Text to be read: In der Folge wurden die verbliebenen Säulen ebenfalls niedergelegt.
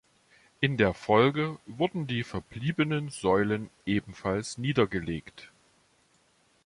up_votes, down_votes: 2, 1